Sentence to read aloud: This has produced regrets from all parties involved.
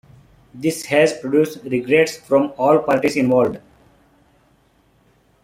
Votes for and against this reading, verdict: 2, 0, accepted